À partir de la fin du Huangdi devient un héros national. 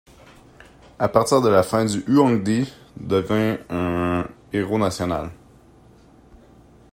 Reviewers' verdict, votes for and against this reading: rejected, 0, 2